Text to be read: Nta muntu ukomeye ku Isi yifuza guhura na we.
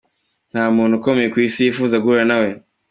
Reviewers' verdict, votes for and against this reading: accepted, 2, 0